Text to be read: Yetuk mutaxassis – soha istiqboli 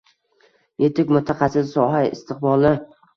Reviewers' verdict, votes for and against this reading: accepted, 2, 0